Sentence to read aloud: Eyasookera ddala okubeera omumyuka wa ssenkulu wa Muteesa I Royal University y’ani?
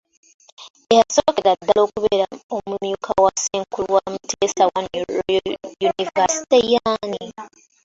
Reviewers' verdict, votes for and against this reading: accepted, 2, 1